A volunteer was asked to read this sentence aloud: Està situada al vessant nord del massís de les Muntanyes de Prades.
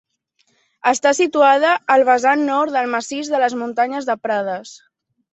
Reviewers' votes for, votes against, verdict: 2, 0, accepted